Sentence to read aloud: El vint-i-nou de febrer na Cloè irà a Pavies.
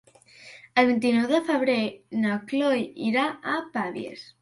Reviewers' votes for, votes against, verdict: 3, 0, accepted